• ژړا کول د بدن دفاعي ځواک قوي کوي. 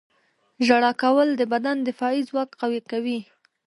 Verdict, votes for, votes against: rejected, 1, 2